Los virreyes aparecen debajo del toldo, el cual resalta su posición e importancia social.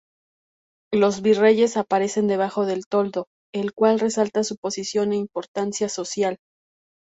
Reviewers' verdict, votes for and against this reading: accepted, 2, 0